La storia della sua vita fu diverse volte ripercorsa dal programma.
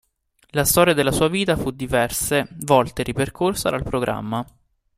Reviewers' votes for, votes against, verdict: 0, 2, rejected